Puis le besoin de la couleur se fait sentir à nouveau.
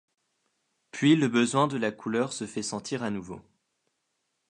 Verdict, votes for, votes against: accepted, 2, 0